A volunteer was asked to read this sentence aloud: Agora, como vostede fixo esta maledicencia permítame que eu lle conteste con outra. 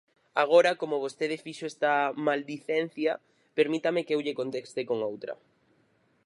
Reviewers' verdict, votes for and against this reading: rejected, 0, 4